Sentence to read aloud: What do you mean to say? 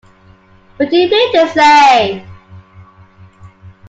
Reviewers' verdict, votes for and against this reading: accepted, 2, 0